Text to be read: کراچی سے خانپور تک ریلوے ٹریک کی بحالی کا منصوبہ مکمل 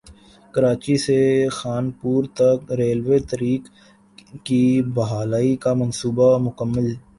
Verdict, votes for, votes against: rejected, 1, 2